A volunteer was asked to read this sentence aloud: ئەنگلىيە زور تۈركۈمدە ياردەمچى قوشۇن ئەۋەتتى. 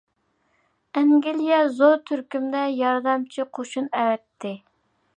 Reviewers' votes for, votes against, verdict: 2, 0, accepted